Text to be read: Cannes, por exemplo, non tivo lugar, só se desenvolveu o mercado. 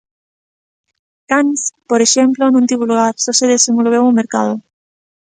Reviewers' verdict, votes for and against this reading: accepted, 2, 0